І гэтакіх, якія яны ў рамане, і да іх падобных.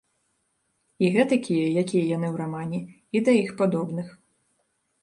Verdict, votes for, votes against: rejected, 0, 3